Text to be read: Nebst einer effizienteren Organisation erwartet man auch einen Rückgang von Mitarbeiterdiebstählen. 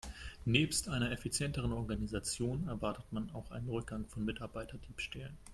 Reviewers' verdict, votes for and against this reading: accepted, 2, 0